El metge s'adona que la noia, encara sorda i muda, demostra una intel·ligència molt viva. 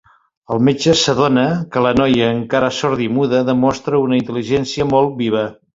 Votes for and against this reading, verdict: 3, 0, accepted